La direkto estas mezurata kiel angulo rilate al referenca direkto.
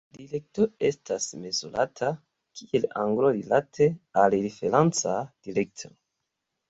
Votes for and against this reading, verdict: 0, 2, rejected